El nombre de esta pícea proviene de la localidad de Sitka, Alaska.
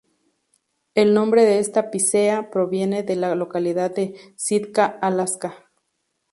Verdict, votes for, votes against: accepted, 2, 0